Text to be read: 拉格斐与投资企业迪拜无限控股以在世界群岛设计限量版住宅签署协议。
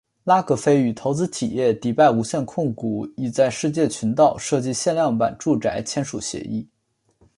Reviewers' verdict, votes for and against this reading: accepted, 2, 0